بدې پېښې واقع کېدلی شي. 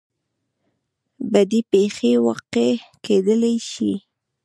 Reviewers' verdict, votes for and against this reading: rejected, 1, 2